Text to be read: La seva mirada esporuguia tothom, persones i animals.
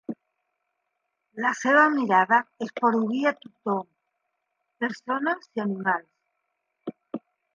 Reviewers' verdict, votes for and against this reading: accepted, 3, 0